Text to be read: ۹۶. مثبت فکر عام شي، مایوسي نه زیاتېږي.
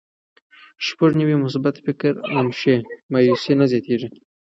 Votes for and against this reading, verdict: 0, 2, rejected